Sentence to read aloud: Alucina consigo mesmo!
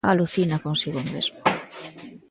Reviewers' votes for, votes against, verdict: 2, 0, accepted